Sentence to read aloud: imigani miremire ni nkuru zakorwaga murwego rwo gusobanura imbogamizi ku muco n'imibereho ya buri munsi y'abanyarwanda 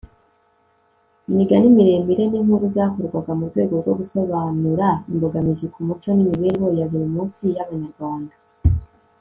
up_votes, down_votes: 2, 0